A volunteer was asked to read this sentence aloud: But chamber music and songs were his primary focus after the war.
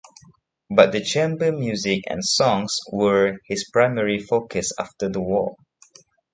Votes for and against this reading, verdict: 1, 2, rejected